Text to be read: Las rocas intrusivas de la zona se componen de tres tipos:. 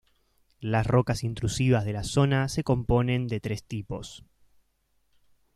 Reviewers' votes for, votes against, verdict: 2, 0, accepted